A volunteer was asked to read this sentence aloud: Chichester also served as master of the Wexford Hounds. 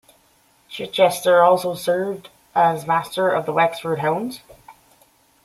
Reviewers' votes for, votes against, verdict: 2, 0, accepted